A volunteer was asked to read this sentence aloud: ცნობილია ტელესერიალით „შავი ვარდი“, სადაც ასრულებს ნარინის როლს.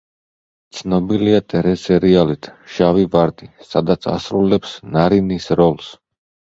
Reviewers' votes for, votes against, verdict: 1, 2, rejected